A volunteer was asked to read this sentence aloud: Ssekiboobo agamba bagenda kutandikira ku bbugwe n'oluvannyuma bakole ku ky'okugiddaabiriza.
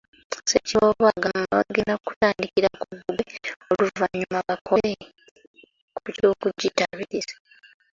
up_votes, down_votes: 1, 2